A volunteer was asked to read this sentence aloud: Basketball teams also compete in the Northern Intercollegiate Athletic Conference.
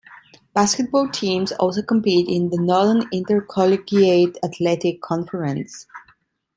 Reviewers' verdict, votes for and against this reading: accepted, 2, 0